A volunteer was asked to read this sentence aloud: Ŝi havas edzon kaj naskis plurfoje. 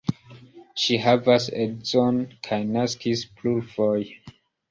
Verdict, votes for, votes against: accepted, 2, 0